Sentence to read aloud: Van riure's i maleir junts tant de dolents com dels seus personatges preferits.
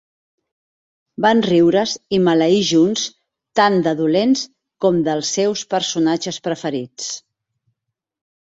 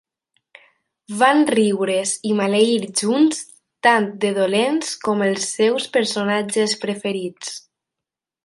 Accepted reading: first